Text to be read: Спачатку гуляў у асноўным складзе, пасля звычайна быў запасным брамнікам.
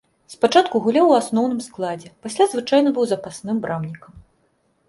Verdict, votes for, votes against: accepted, 2, 0